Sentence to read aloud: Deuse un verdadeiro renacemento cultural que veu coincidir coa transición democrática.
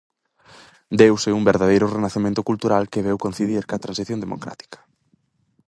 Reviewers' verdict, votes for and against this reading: accepted, 4, 0